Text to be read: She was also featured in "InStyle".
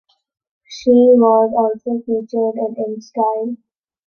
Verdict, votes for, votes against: accepted, 2, 0